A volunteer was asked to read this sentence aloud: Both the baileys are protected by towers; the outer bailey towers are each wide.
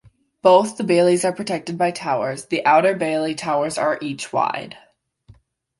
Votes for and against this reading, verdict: 2, 0, accepted